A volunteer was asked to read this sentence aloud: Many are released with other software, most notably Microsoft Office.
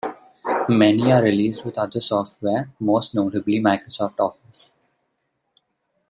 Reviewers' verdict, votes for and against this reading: accepted, 2, 1